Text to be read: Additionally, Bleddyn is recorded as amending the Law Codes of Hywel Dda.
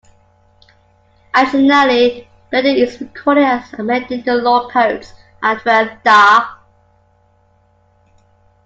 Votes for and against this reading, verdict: 1, 2, rejected